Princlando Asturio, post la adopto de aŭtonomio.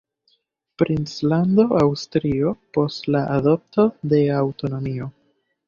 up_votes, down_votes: 2, 0